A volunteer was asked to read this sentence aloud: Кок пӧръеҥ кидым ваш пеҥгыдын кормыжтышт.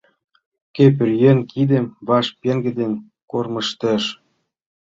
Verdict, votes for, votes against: accepted, 2, 1